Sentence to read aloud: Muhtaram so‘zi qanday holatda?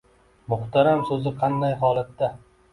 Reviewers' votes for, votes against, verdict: 2, 0, accepted